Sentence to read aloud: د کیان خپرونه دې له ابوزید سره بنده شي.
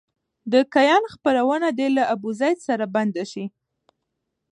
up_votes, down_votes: 2, 1